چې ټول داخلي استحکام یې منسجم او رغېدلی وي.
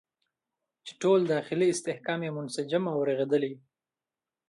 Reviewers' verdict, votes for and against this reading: accepted, 2, 1